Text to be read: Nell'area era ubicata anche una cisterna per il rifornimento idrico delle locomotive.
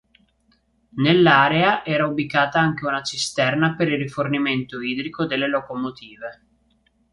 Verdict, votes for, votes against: rejected, 1, 2